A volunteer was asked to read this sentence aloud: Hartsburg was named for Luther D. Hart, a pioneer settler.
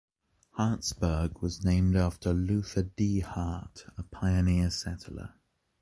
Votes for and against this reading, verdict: 2, 0, accepted